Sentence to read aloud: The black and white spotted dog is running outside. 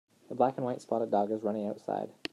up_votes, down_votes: 2, 0